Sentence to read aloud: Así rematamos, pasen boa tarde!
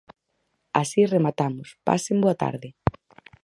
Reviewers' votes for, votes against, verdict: 4, 0, accepted